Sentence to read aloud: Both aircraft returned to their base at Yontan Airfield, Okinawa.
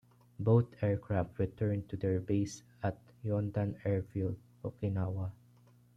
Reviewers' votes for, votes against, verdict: 2, 0, accepted